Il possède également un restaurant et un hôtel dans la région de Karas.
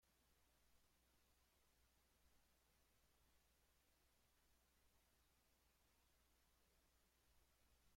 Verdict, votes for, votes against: rejected, 0, 2